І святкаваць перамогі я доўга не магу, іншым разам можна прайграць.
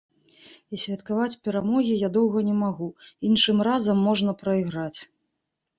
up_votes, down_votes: 2, 0